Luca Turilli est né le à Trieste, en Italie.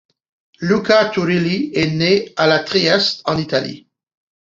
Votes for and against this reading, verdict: 0, 2, rejected